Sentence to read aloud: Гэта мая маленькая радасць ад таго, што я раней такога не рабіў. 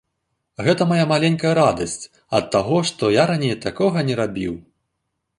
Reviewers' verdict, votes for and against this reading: accepted, 2, 0